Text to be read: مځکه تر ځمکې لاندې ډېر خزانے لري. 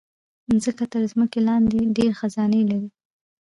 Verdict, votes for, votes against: accepted, 2, 0